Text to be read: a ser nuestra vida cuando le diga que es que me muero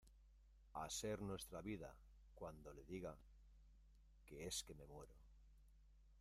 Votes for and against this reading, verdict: 0, 2, rejected